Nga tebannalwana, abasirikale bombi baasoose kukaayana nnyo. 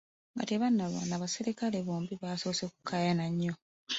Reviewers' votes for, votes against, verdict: 1, 2, rejected